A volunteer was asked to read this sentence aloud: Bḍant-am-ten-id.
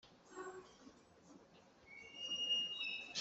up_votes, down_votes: 0, 2